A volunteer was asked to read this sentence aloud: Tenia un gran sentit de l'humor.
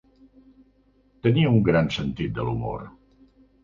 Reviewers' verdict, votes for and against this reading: accepted, 3, 0